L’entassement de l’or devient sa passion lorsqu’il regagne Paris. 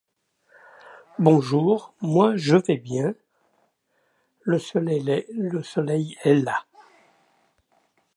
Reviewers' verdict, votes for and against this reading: rejected, 0, 2